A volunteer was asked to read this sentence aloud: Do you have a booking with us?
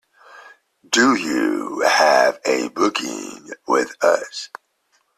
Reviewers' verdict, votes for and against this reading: accepted, 2, 0